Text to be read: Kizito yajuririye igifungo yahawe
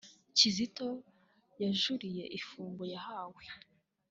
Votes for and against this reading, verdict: 2, 0, accepted